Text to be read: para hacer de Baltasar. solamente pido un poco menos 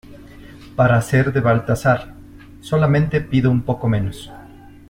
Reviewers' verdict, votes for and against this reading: accepted, 2, 0